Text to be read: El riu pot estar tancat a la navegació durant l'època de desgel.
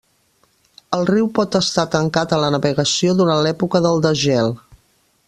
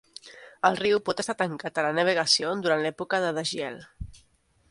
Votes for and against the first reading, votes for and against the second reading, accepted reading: 1, 2, 2, 0, second